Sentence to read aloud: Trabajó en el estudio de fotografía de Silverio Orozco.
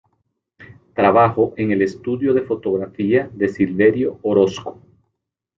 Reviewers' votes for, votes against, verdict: 1, 2, rejected